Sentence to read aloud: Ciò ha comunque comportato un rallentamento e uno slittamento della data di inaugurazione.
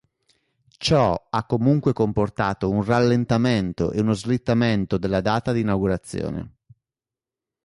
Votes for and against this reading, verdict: 2, 0, accepted